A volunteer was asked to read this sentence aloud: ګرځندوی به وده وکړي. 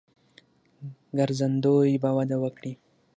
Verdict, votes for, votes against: accepted, 6, 0